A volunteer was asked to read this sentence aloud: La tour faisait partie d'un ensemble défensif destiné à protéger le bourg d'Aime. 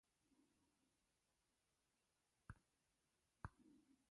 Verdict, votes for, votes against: rejected, 0, 2